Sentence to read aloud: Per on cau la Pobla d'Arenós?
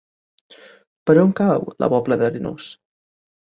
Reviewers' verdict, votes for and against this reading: accepted, 2, 0